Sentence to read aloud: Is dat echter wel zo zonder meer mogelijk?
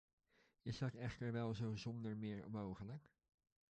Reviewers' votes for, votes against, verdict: 1, 2, rejected